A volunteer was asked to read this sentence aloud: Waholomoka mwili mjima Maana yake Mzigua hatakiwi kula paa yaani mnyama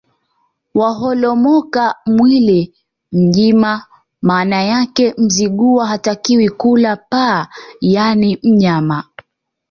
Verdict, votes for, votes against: accepted, 2, 0